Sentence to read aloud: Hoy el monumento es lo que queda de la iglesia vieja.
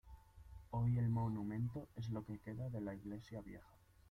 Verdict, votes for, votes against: accepted, 2, 1